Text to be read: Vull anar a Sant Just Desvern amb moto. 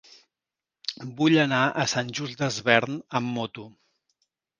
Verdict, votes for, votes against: accepted, 2, 0